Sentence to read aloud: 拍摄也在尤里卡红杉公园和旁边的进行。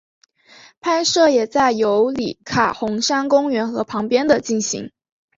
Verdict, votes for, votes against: accepted, 2, 0